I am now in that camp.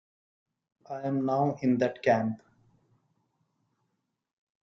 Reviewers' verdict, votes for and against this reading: accepted, 2, 0